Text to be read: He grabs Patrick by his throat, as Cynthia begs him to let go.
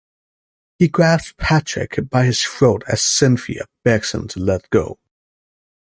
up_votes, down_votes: 2, 0